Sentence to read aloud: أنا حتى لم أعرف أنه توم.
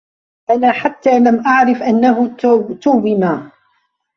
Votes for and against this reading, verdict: 0, 2, rejected